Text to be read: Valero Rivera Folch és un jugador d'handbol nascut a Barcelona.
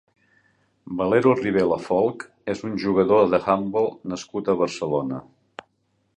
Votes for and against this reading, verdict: 0, 2, rejected